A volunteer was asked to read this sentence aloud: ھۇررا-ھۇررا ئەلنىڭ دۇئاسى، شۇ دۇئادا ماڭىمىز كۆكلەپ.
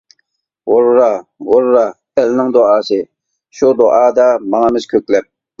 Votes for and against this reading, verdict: 2, 0, accepted